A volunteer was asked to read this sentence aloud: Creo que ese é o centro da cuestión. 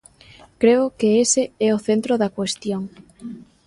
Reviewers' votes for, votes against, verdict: 2, 0, accepted